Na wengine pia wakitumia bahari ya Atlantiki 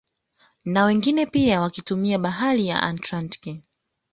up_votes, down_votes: 1, 2